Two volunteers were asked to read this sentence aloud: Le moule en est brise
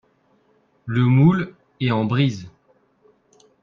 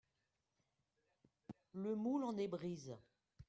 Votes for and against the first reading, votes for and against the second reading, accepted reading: 0, 4, 2, 0, second